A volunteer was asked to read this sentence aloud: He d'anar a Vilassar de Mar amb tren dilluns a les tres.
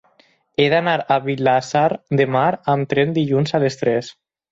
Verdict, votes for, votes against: accepted, 4, 0